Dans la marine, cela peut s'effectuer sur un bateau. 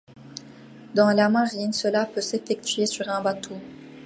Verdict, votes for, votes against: accepted, 2, 0